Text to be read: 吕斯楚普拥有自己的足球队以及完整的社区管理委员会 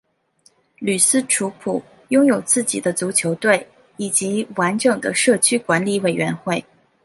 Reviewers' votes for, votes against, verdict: 2, 0, accepted